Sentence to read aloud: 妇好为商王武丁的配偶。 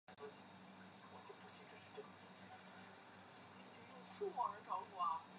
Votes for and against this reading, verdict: 0, 4, rejected